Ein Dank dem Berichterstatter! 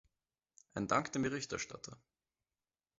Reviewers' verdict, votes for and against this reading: accepted, 2, 0